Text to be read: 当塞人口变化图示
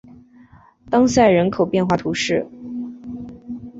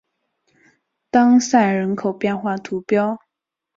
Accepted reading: first